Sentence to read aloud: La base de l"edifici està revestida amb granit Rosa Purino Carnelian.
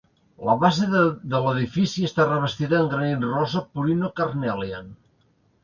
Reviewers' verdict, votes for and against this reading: rejected, 2, 3